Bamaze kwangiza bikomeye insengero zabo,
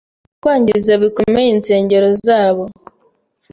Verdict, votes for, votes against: rejected, 1, 2